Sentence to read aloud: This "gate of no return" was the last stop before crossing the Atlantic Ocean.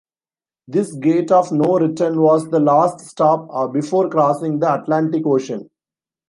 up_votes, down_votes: 1, 2